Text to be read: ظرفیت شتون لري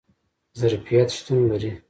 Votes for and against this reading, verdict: 2, 0, accepted